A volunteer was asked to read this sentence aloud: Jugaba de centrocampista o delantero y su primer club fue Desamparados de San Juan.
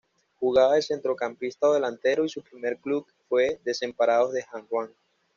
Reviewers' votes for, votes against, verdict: 1, 2, rejected